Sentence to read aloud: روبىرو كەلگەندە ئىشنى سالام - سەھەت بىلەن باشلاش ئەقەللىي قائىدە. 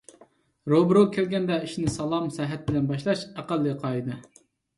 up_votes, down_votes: 2, 0